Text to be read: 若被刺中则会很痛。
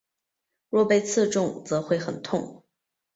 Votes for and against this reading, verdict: 2, 0, accepted